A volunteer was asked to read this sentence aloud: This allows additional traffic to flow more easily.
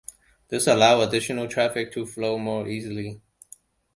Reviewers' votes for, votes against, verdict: 1, 2, rejected